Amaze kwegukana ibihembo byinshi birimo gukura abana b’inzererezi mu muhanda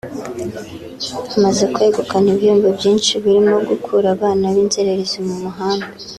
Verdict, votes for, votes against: accepted, 2, 0